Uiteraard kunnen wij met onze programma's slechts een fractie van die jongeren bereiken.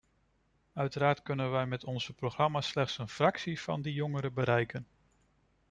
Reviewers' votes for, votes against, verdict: 2, 1, accepted